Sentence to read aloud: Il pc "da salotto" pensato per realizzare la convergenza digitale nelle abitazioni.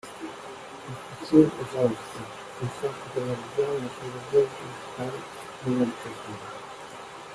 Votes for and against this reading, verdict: 1, 2, rejected